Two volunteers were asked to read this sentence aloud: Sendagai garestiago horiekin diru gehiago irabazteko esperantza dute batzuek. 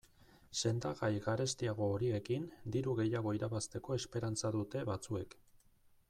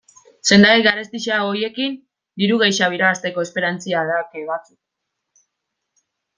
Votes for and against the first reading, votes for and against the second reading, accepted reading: 2, 0, 1, 2, first